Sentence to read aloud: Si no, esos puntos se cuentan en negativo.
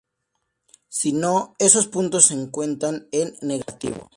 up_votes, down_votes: 2, 0